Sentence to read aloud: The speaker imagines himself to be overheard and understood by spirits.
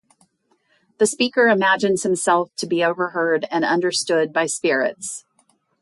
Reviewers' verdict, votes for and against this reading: accepted, 4, 0